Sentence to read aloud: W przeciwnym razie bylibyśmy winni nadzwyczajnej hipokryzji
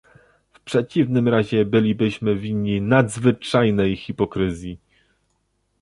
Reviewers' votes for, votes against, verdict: 2, 0, accepted